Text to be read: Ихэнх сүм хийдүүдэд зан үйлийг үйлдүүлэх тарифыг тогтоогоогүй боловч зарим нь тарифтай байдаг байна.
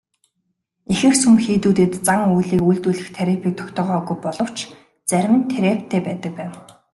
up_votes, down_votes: 2, 0